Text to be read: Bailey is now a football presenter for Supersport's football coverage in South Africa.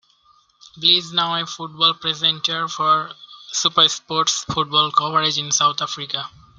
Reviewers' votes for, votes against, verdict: 0, 2, rejected